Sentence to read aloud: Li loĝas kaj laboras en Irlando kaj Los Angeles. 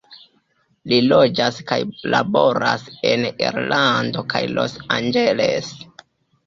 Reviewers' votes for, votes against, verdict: 1, 2, rejected